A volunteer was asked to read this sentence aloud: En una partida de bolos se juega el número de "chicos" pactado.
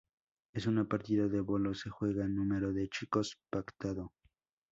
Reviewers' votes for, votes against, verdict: 0, 4, rejected